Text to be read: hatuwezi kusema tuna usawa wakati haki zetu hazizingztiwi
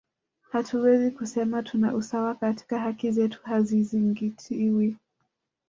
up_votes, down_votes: 0, 2